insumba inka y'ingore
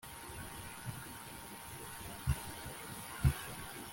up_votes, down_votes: 1, 2